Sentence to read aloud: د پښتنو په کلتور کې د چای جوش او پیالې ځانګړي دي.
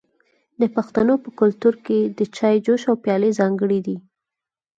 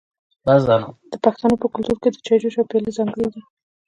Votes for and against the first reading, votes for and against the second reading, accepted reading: 4, 0, 1, 2, first